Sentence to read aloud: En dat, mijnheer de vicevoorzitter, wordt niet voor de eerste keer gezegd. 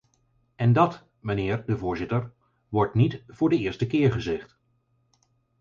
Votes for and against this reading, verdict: 0, 4, rejected